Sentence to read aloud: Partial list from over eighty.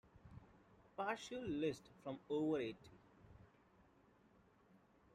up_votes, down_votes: 2, 0